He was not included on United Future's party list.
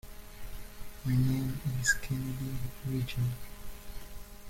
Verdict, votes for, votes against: rejected, 0, 2